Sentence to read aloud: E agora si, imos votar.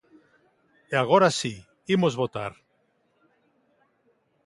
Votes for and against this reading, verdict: 3, 0, accepted